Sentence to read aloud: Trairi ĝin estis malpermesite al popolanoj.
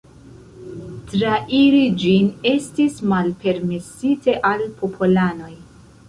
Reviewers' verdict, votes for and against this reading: rejected, 1, 2